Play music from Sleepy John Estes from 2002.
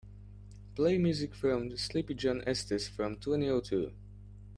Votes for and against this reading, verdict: 0, 2, rejected